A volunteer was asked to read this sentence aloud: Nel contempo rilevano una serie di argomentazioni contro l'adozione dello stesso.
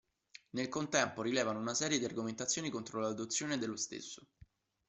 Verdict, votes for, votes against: accepted, 2, 0